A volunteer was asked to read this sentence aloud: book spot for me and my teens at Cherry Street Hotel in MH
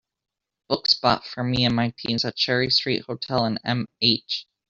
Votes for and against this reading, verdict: 2, 1, accepted